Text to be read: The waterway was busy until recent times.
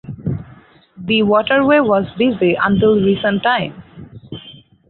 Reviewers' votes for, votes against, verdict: 4, 0, accepted